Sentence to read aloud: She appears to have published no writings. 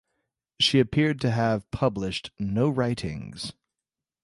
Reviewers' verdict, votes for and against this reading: rejected, 1, 2